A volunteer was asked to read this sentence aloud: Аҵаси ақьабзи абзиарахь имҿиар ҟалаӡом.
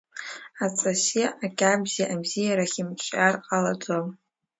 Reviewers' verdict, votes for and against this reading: rejected, 1, 2